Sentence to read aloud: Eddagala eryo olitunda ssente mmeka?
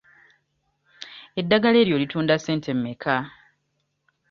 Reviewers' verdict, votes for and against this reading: accepted, 2, 0